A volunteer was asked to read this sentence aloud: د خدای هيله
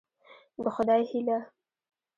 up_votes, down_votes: 2, 1